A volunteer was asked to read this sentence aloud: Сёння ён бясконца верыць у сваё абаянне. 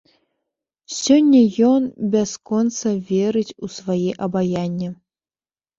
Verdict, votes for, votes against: rejected, 0, 2